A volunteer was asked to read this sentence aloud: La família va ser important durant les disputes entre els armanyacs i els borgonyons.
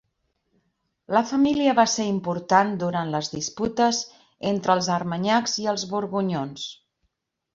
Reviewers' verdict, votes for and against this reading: accepted, 2, 0